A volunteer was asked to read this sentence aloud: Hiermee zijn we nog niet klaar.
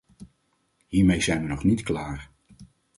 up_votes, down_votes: 4, 0